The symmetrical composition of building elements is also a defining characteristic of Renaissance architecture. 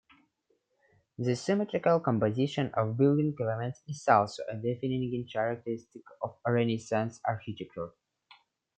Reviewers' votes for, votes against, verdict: 2, 0, accepted